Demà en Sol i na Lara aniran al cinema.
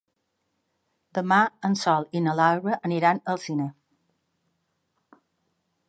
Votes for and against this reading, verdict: 2, 0, accepted